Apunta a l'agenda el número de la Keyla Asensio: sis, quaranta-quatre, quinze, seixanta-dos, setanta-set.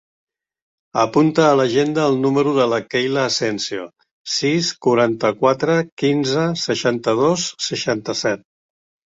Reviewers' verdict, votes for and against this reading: rejected, 0, 2